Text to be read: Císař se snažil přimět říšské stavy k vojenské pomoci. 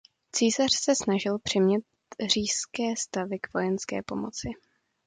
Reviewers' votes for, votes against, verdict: 1, 2, rejected